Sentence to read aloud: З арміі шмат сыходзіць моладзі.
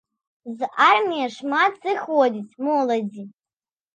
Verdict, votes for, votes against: accepted, 2, 0